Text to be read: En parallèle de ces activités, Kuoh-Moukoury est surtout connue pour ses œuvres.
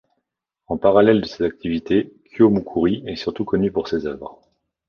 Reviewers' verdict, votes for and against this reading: accepted, 2, 0